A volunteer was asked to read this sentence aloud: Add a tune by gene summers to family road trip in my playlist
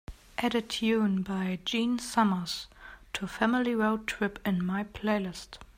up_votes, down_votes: 2, 0